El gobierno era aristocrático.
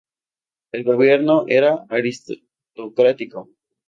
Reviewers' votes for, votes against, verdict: 2, 2, rejected